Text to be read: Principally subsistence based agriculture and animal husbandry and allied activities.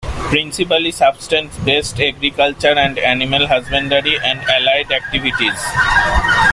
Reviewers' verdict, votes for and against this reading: rejected, 1, 2